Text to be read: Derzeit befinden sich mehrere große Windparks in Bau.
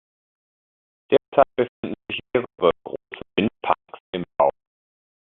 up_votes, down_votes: 1, 3